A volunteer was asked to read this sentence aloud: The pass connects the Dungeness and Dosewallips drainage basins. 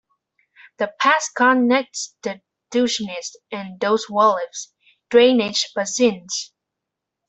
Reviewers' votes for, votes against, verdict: 1, 2, rejected